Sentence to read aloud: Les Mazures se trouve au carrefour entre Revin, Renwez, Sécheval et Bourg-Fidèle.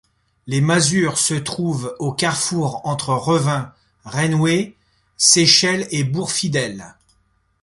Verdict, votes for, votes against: rejected, 0, 2